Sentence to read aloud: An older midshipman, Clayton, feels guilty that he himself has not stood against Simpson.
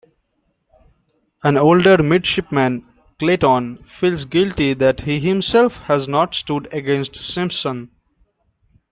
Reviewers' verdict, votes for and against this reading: accepted, 2, 0